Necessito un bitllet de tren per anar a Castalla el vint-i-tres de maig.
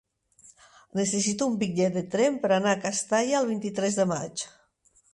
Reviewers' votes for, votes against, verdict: 6, 0, accepted